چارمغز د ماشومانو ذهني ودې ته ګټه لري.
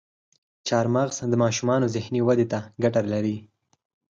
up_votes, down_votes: 0, 4